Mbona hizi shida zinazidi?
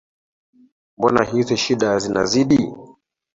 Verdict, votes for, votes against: rejected, 0, 2